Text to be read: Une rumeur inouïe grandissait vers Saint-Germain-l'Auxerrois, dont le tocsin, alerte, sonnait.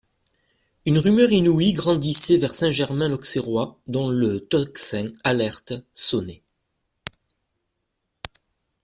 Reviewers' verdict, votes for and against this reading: accepted, 2, 0